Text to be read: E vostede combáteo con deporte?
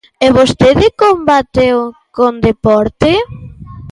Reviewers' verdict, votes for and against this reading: accepted, 2, 0